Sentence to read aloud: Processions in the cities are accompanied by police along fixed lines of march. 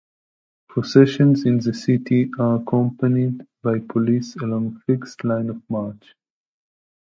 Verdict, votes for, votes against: rejected, 0, 2